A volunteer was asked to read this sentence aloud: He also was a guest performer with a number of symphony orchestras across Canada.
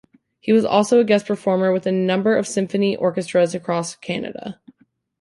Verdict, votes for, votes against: accepted, 2, 1